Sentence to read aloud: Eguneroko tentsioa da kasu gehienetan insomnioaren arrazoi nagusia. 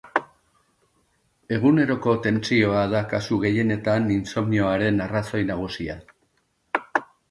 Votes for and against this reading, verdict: 3, 0, accepted